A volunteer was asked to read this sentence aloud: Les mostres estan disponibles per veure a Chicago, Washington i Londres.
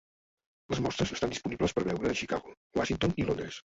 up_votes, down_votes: 0, 2